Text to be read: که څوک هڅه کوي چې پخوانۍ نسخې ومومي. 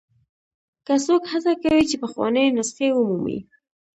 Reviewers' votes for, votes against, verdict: 0, 2, rejected